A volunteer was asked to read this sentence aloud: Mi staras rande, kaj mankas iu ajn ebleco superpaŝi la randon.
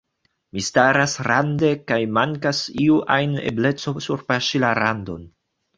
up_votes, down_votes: 1, 2